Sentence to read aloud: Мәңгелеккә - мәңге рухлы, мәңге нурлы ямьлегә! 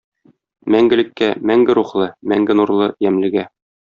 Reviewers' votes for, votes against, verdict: 2, 0, accepted